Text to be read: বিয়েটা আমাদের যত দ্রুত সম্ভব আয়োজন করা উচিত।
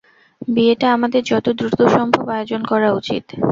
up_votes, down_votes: 0, 2